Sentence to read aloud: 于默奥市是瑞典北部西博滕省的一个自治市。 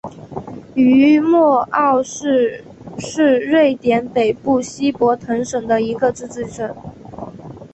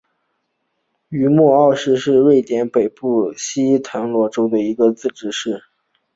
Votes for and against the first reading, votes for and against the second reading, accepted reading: 2, 0, 4, 7, first